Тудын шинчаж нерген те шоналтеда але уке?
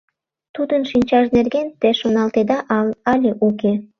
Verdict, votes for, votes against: rejected, 0, 2